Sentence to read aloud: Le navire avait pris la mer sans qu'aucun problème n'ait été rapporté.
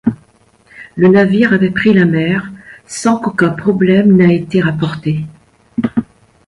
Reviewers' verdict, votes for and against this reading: rejected, 1, 2